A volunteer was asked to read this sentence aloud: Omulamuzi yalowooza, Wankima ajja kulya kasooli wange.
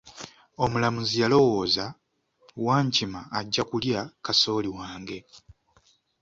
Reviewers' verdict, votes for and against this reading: accepted, 2, 0